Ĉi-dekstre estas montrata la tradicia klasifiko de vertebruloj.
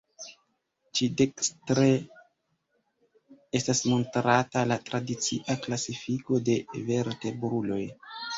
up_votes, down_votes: 0, 2